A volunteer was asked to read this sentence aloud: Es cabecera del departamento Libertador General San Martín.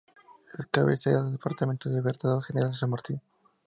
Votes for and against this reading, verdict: 2, 0, accepted